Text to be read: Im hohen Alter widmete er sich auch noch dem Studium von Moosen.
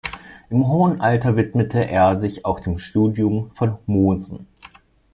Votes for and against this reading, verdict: 1, 2, rejected